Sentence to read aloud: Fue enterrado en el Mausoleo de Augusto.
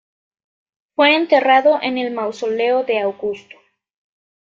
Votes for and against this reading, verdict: 2, 0, accepted